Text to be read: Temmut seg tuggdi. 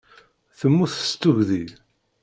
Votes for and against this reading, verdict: 2, 0, accepted